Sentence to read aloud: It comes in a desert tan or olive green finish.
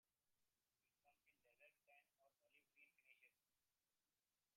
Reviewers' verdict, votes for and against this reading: rejected, 0, 2